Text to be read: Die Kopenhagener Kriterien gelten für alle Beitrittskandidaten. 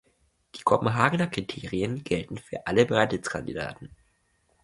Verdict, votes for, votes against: accepted, 2, 0